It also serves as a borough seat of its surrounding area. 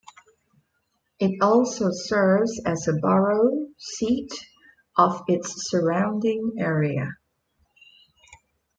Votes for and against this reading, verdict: 2, 1, accepted